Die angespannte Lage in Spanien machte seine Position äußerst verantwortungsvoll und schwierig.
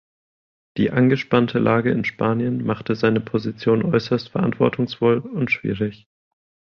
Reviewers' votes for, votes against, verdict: 2, 0, accepted